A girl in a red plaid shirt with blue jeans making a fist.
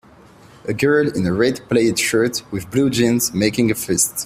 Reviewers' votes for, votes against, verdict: 2, 0, accepted